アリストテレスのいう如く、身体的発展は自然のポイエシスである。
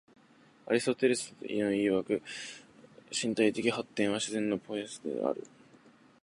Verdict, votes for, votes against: rejected, 0, 2